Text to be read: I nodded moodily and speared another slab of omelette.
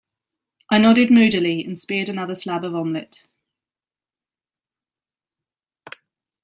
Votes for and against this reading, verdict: 2, 0, accepted